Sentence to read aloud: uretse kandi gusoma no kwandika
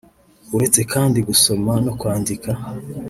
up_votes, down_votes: 3, 0